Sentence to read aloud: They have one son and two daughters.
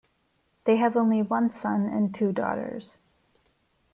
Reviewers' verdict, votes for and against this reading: rejected, 1, 2